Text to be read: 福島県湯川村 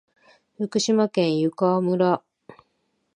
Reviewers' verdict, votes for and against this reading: accepted, 2, 0